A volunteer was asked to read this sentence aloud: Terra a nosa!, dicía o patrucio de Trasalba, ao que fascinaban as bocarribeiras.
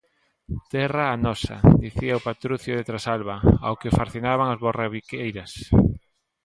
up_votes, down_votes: 0, 2